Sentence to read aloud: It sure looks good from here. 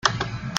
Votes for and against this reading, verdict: 1, 2, rejected